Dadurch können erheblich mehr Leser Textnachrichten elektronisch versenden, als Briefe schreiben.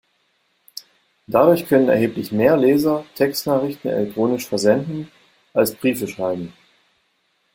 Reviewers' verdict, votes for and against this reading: accepted, 2, 0